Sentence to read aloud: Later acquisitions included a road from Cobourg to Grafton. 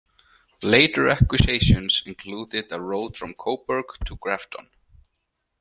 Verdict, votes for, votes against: accepted, 2, 1